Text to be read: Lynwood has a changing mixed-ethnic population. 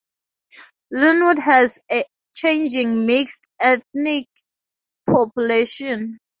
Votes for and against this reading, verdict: 2, 0, accepted